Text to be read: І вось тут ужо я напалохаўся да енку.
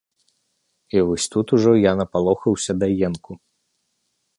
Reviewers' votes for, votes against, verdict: 2, 0, accepted